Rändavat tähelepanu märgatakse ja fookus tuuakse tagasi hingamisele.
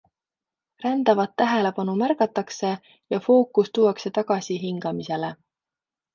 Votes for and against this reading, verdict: 2, 0, accepted